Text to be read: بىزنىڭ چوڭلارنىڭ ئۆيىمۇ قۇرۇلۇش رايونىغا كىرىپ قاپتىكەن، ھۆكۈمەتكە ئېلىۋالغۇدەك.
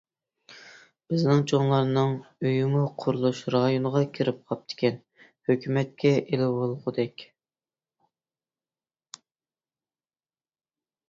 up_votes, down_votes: 2, 0